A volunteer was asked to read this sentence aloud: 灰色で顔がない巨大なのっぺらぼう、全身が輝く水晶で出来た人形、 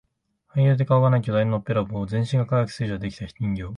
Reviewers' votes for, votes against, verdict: 2, 4, rejected